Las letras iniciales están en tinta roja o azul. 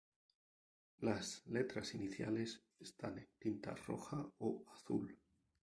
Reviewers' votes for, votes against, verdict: 2, 0, accepted